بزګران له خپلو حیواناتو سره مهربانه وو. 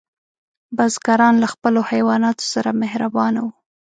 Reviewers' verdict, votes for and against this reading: accepted, 3, 0